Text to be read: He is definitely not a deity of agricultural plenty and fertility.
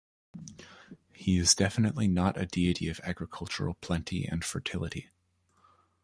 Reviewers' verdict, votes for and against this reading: accepted, 2, 0